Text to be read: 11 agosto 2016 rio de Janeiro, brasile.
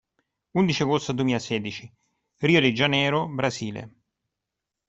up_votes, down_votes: 0, 2